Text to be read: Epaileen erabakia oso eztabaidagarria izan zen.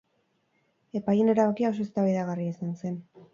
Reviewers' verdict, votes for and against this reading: accepted, 2, 0